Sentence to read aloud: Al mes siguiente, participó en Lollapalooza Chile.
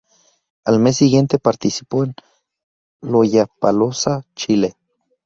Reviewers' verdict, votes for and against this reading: rejected, 2, 4